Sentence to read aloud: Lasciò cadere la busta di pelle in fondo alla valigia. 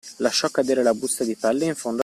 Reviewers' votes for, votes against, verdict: 0, 2, rejected